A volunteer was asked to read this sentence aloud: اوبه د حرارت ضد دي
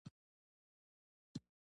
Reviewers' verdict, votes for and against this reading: accepted, 2, 0